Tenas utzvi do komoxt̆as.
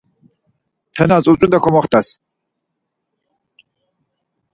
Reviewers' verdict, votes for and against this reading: accepted, 4, 0